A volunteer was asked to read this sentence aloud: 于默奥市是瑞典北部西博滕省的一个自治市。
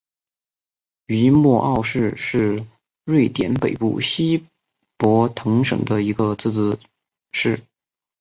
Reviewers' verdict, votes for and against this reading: accepted, 2, 1